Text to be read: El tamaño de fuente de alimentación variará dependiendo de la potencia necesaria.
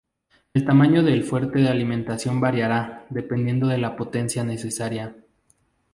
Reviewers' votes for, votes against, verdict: 2, 2, rejected